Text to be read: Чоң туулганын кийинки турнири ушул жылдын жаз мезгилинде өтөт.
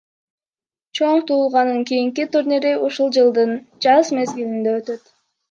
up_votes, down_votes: 2, 1